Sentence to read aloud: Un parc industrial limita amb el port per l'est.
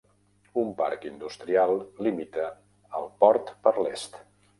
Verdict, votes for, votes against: rejected, 0, 2